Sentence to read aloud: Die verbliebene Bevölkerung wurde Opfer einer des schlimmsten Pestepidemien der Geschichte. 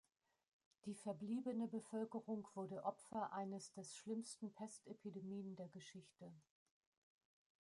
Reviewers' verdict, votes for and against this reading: rejected, 0, 2